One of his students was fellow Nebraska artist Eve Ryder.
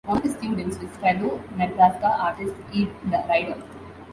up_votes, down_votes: 2, 1